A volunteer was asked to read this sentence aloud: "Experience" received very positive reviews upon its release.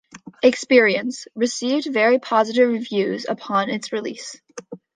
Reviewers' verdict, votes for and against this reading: accepted, 2, 0